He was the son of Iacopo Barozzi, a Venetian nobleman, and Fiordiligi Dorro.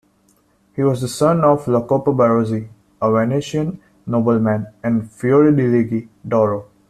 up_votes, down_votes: 0, 2